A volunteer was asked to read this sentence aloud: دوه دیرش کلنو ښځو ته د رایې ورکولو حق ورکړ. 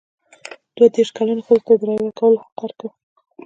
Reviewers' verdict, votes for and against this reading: accepted, 2, 1